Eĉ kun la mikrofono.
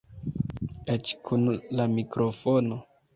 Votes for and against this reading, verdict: 2, 1, accepted